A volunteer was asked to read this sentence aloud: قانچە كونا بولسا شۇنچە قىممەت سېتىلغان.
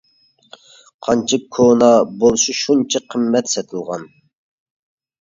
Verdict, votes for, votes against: accepted, 2, 1